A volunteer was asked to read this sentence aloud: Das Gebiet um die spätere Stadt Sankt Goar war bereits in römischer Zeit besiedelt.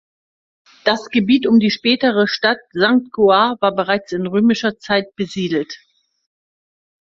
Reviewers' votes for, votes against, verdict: 3, 0, accepted